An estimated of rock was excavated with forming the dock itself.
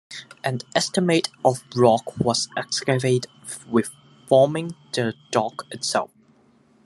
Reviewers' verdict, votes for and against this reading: accepted, 2, 1